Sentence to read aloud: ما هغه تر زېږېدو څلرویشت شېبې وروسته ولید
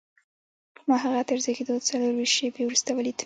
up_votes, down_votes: 0, 2